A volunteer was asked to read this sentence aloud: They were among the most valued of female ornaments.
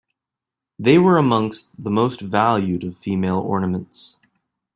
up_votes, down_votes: 0, 2